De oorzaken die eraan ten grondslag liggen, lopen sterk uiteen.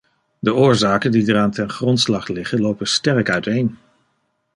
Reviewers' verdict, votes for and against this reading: rejected, 1, 2